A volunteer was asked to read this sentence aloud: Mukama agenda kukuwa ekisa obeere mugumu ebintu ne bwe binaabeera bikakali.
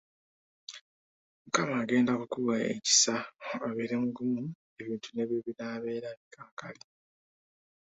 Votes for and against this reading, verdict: 2, 0, accepted